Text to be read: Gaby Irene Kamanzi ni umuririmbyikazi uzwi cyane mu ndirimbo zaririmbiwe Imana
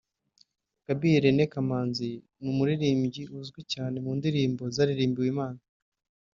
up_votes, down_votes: 1, 2